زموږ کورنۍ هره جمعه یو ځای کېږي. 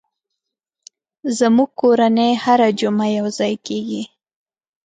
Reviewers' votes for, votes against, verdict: 2, 0, accepted